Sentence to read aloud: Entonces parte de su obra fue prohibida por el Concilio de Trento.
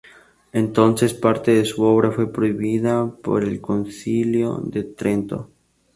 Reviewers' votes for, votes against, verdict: 2, 0, accepted